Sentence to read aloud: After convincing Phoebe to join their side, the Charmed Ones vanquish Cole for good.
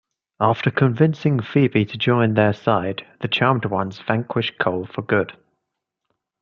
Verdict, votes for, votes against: rejected, 1, 2